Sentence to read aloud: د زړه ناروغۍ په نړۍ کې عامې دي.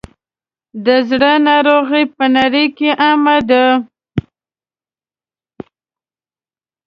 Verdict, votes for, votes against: rejected, 1, 2